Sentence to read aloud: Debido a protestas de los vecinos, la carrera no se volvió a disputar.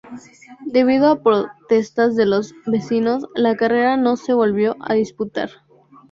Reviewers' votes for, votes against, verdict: 2, 0, accepted